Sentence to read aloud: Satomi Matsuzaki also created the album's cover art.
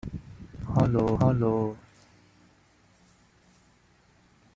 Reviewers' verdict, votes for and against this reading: rejected, 0, 2